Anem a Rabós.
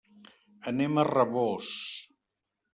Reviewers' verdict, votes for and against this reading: accepted, 3, 0